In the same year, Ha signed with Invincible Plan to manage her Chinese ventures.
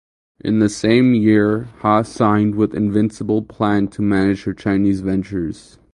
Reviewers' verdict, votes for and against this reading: accepted, 8, 0